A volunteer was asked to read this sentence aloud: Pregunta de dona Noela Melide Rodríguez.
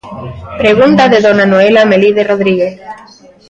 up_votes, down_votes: 2, 0